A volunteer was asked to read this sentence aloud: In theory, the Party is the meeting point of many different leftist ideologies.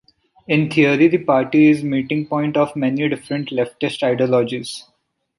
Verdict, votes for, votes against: rejected, 1, 2